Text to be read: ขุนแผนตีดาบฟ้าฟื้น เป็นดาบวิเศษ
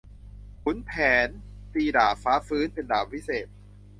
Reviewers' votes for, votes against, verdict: 2, 0, accepted